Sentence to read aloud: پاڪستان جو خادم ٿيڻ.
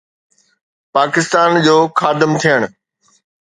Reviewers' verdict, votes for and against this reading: accepted, 2, 0